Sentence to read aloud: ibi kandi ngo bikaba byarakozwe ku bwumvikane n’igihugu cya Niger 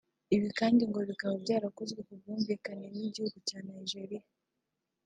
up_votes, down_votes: 1, 2